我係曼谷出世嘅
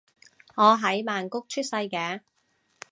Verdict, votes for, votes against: rejected, 1, 2